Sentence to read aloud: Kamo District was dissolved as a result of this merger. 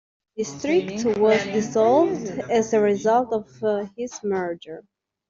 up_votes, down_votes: 0, 2